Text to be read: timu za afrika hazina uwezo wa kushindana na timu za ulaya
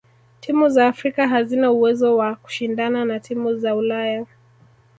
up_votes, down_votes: 1, 2